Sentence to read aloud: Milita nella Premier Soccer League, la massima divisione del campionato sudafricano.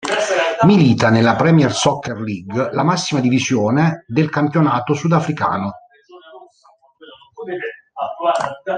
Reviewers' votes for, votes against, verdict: 0, 3, rejected